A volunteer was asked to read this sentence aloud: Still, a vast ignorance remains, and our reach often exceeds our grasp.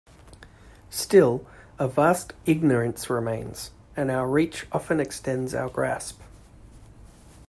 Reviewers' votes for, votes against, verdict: 2, 1, accepted